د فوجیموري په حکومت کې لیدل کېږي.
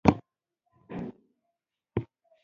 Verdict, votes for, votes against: rejected, 1, 2